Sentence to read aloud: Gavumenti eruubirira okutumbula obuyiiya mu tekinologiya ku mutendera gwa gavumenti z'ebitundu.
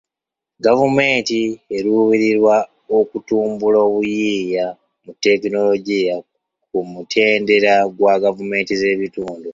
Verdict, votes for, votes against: accepted, 2, 1